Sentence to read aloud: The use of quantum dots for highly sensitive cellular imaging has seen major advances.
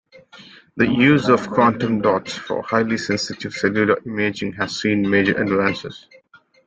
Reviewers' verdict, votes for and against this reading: accepted, 2, 1